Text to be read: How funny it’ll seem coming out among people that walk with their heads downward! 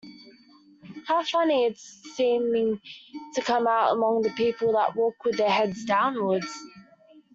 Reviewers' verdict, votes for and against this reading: rejected, 0, 2